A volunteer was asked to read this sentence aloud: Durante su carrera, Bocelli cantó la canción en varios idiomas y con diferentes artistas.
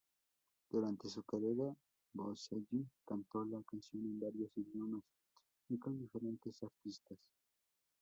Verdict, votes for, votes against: rejected, 0, 2